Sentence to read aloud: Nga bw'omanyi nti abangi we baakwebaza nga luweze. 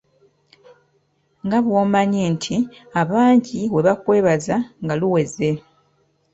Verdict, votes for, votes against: accepted, 2, 0